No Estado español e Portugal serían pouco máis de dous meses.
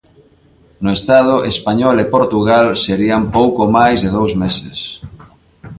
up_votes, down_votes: 2, 0